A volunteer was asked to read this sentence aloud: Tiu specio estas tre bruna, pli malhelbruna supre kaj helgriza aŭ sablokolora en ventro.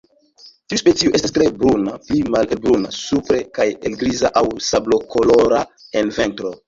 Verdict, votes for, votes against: rejected, 0, 2